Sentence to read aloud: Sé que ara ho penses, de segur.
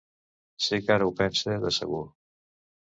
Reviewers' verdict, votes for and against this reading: rejected, 0, 2